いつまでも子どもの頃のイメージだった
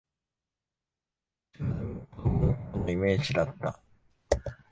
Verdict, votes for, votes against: rejected, 0, 2